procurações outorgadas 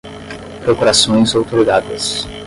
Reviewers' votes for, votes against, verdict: 5, 0, accepted